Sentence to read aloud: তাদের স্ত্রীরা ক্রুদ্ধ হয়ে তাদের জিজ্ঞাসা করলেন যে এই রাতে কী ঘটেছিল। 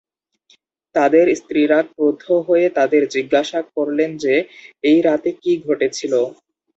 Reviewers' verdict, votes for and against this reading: rejected, 0, 2